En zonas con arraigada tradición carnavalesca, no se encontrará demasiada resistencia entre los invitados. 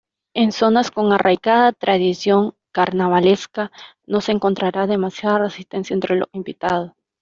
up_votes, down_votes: 2, 1